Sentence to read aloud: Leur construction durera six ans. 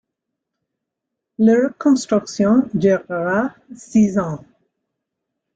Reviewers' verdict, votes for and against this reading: accepted, 2, 0